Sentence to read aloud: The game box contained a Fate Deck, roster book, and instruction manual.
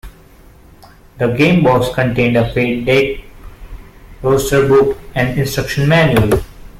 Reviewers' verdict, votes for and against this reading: accepted, 2, 0